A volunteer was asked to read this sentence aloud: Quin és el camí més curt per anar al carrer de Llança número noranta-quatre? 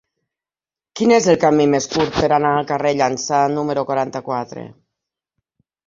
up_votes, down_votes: 1, 3